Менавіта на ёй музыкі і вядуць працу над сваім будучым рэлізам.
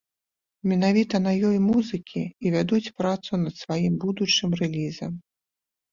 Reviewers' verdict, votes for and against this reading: accepted, 4, 2